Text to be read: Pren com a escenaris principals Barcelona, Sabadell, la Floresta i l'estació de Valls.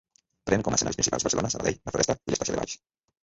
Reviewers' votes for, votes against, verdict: 0, 2, rejected